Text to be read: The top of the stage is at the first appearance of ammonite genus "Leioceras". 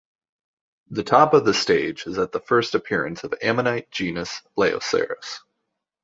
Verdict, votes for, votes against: accepted, 2, 0